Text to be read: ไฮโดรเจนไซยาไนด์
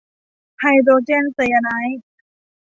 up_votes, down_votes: 2, 0